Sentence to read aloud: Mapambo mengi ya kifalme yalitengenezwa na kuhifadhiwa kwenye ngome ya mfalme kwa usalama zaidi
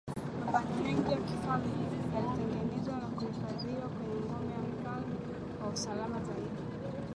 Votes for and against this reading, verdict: 2, 1, accepted